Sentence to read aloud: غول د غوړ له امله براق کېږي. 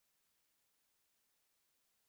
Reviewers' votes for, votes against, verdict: 2, 0, accepted